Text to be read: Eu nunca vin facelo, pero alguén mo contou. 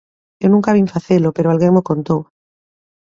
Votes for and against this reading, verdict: 2, 1, accepted